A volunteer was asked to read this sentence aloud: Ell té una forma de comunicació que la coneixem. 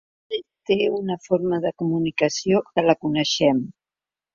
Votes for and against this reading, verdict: 2, 0, accepted